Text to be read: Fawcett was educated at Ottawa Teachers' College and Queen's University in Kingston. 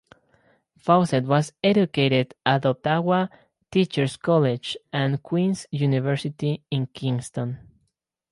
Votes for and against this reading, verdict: 4, 0, accepted